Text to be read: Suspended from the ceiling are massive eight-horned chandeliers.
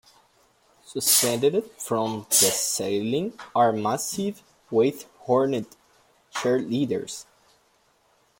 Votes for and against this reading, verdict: 1, 2, rejected